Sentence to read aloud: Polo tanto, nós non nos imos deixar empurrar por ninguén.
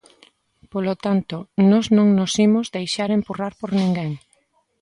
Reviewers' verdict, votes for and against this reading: accepted, 3, 0